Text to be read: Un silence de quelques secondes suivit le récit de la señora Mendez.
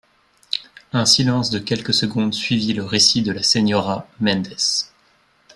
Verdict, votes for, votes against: accepted, 2, 0